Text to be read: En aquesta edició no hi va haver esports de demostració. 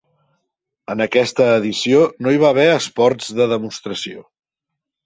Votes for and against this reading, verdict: 2, 0, accepted